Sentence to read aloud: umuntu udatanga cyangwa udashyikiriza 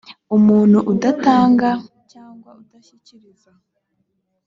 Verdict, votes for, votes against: rejected, 1, 2